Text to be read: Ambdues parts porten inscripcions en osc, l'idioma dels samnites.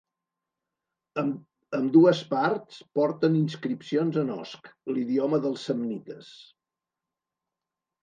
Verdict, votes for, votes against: rejected, 1, 2